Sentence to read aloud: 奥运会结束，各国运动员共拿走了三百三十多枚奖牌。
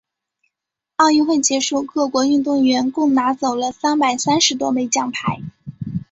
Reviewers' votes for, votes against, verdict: 2, 0, accepted